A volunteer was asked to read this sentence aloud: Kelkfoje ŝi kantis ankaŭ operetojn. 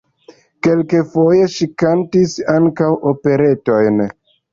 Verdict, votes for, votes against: rejected, 1, 2